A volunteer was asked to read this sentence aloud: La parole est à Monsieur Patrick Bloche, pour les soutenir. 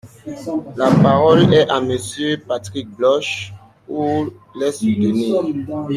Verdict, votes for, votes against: rejected, 1, 2